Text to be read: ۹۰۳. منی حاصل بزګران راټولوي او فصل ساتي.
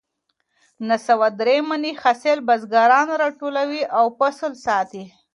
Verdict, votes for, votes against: rejected, 0, 2